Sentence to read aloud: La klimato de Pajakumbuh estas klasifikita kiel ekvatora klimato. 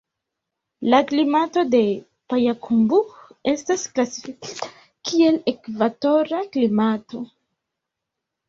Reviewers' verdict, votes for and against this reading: rejected, 1, 2